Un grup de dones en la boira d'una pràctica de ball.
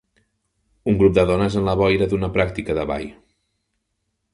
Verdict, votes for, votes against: accepted, 3, 0